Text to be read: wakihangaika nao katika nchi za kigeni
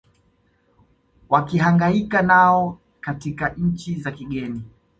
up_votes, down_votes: 2, 0